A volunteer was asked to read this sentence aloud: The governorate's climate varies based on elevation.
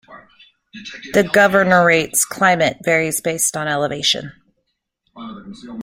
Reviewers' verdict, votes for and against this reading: accepted, 2, 1